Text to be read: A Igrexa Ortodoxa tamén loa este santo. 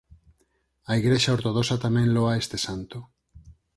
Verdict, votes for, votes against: accepted, 4, 2